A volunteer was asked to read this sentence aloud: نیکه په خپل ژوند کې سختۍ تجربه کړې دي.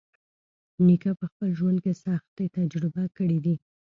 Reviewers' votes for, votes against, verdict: 0, 2, rejected